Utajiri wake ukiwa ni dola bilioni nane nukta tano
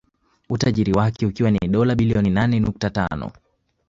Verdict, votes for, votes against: accepted, 2, 0